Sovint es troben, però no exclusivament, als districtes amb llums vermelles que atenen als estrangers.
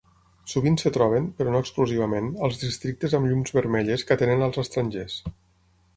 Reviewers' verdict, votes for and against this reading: rejected, 3, 6